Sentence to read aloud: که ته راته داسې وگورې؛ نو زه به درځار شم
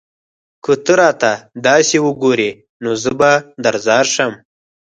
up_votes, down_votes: 4, 0